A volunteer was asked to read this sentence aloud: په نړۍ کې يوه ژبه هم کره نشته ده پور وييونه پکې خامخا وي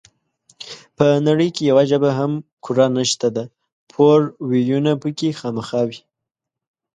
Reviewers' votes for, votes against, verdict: 1, 2, rejected